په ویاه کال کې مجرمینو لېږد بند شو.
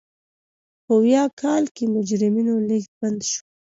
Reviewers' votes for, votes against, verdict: 2, 0, accepted